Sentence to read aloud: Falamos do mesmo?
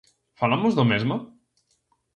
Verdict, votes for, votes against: accepted, 2, 0